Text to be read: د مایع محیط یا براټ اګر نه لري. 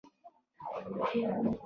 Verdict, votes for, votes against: rejected, 1, 2